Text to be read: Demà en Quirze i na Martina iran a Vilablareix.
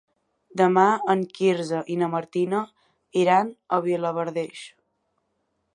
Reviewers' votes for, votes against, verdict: 1, 2, rejected